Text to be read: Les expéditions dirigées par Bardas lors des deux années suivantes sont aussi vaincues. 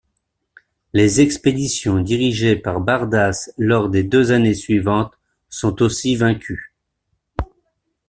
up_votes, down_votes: 2, 0